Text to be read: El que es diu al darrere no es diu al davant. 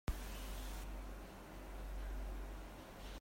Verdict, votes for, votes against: rejected, 0, 2